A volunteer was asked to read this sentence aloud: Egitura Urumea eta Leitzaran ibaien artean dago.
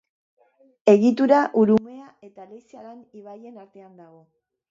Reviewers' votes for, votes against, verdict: 4, 0, accepted